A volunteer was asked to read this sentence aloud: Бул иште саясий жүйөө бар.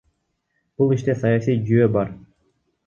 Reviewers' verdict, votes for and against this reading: rejected, 0, 2